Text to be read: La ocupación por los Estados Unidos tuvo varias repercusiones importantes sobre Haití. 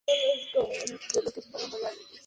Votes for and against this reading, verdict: 2, 2, rejected